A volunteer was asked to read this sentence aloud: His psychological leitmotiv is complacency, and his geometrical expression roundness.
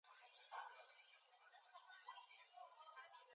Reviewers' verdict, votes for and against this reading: rejected, 2, 2